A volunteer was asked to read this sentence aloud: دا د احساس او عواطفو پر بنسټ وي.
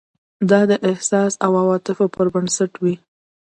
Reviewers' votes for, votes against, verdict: 2, 0, accepted